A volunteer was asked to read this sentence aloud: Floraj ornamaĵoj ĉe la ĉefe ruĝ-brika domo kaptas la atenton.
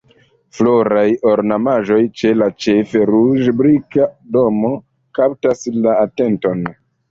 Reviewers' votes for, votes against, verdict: 1, 2, rejected